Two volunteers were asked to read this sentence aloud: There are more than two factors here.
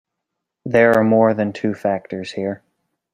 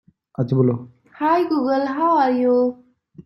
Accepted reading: first